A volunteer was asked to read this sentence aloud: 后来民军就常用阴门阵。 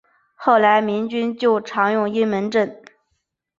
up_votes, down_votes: 5, 0